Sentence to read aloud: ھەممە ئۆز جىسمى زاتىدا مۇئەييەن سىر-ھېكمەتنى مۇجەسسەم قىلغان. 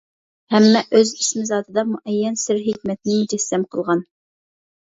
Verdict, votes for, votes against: rejected, 0, 2